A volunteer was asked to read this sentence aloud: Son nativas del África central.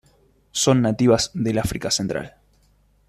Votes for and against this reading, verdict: 2, 0, accepted